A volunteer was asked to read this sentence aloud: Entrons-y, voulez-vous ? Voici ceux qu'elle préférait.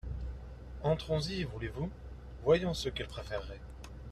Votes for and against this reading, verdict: 0, 2, rejected